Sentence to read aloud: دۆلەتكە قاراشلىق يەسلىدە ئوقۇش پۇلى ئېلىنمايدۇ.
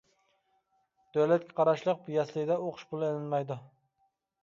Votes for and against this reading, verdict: 2, 1, accepted